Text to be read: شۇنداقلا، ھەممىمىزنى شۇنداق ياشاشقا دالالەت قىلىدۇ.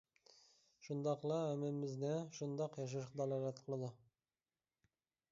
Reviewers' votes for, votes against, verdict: 2, 0, accepted